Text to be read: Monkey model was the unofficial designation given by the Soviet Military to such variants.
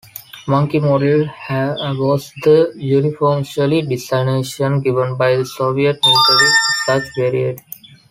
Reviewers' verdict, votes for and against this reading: accepted, 2, 1